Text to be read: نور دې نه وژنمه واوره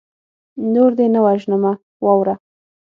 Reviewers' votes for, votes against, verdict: 9, 0, accepted